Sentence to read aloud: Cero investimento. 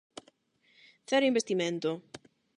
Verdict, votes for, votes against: accepted, 8, 0